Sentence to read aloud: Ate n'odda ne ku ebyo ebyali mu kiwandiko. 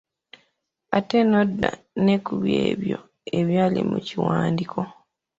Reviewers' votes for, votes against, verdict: 2, 1, accepted